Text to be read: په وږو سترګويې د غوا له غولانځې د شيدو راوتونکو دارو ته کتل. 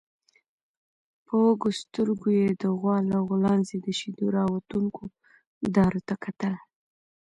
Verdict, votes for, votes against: accepted, 2, 1